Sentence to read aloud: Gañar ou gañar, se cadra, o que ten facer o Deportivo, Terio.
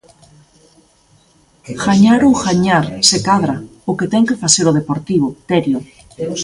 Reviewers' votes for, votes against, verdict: 2, 0, accepted